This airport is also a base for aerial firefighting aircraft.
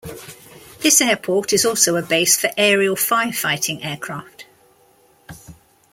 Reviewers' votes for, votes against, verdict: 2, 0, accepted